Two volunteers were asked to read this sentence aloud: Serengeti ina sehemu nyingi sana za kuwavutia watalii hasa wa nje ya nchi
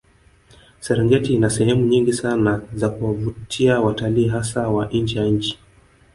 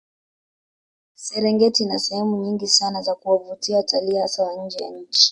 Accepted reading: second